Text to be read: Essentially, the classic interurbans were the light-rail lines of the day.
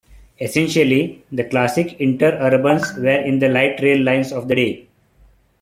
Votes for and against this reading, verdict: 0, 2, rejected